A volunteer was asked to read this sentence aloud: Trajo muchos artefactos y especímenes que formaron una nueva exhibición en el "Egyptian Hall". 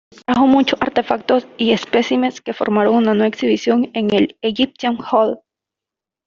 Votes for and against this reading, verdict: 1, 2, rejected